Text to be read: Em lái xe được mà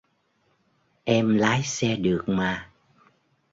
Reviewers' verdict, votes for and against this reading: accepted, 2, 0